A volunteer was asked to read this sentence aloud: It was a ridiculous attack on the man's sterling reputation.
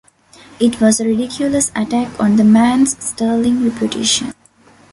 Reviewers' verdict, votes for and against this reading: rejected, 0, 2